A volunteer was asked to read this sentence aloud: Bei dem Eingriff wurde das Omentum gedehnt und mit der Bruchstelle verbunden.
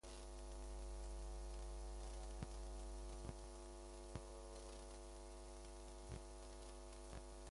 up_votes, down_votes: 0, 2